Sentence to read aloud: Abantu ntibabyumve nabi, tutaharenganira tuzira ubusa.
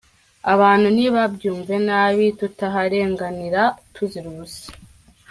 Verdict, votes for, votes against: accepted, 2, 0